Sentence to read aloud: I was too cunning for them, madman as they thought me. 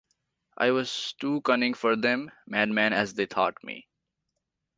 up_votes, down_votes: 2, 0